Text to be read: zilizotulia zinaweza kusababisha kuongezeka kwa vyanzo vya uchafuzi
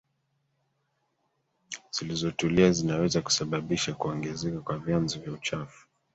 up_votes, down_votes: 0, 2